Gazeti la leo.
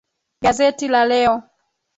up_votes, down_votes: 3, 0